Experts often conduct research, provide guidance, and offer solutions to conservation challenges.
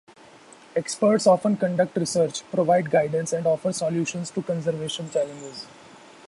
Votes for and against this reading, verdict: 2, 2, rejected